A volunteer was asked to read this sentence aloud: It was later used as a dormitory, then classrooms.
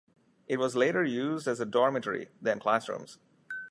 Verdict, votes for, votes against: accepted, 2, 0